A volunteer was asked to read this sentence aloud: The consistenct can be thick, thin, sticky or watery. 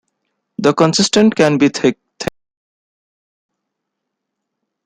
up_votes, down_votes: 1, 2